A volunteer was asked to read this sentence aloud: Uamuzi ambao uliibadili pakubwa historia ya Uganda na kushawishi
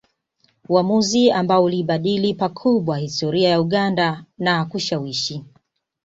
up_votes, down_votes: 2, 0